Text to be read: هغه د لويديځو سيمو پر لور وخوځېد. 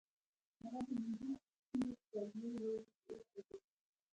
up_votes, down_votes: 1, 2